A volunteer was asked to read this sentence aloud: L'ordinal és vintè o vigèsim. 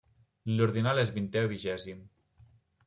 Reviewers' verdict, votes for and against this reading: accepted, 2, 0